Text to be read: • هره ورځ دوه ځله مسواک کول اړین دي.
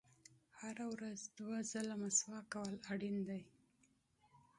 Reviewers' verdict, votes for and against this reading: accepted, 2, 0